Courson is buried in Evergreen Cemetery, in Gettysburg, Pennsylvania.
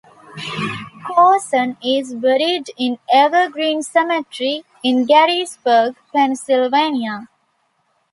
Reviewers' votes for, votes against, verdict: 2, 0, accepted